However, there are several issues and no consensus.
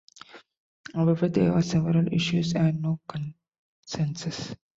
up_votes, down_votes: 2, 0